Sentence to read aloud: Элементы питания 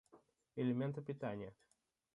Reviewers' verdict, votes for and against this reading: rejected, 1, 2